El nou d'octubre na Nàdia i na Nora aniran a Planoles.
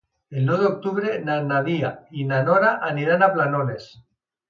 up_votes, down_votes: 1, 2